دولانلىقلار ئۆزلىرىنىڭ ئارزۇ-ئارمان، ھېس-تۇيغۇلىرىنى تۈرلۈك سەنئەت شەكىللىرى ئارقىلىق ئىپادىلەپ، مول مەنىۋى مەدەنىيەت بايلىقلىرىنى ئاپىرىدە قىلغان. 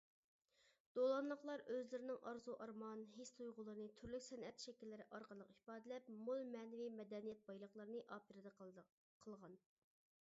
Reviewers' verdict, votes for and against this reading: rejected, 1, 2